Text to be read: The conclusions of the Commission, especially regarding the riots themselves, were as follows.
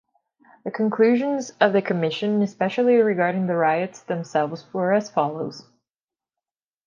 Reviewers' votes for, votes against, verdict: 2, 1, accepted